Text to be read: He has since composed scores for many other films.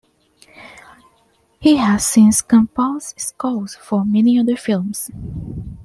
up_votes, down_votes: 2, 0